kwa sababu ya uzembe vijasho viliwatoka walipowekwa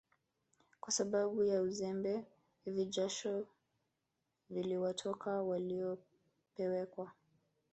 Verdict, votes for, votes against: rejected, 0, 2